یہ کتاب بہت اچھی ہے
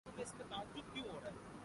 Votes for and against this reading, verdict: 0, 3, rejected